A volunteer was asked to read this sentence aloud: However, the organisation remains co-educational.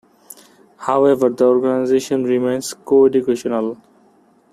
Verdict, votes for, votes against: accepted, 2, 0